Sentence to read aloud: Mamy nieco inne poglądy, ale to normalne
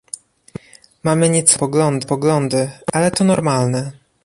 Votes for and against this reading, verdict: 0, 2, rejected